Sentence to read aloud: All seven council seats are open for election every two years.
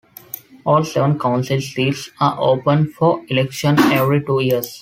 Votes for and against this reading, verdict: 2, 0, accepted